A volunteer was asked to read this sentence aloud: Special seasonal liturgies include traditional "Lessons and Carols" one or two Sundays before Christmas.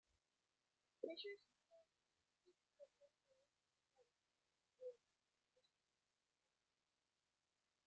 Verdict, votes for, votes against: rejected, 0, 2